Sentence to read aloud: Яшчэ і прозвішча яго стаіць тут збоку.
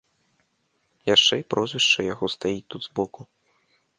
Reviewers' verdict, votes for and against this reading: accepted, 2, 0